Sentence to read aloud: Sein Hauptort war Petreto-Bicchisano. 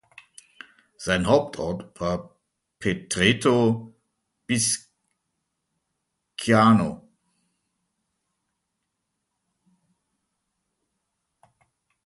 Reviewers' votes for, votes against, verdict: 0, 2, rejected